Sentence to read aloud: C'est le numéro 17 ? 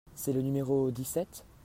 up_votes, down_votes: 0, 2